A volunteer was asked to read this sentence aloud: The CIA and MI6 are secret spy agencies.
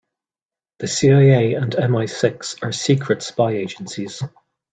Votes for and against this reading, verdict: 0, 2, rejected